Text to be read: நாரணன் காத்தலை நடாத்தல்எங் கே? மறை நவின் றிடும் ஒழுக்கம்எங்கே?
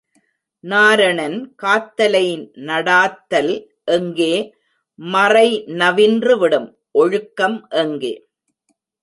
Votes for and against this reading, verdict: 0, 2, rejected